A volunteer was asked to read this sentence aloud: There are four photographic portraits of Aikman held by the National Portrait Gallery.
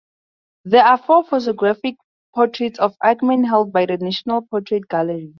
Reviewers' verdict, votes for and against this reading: accepted, 2, 0